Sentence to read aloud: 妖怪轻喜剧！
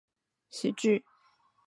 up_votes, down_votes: 0, 2